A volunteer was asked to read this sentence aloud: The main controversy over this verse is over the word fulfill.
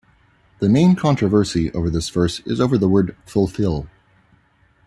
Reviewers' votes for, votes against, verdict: 2, 0, accepted